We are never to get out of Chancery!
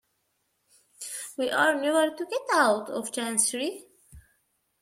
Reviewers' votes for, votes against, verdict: 2, 0, accepted